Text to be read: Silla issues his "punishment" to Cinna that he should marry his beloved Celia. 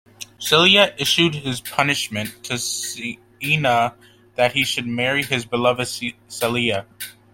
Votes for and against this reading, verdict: 0, 2, rejected